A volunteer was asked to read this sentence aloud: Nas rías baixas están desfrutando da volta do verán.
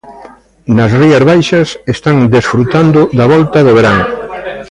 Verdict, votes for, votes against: rejected, 1, 2